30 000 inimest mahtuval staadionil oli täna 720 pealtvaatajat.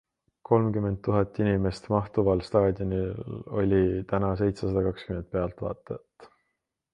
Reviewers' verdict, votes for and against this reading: rejected, 0, 2